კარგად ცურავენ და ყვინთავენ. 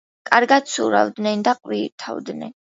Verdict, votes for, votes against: accepted, 2, 1